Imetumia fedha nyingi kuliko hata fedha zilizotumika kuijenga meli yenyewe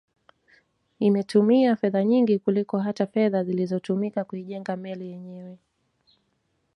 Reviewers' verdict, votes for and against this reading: accepted, 2, 0